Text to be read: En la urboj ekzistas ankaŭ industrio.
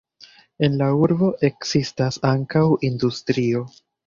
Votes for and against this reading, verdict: 0, 2, rejected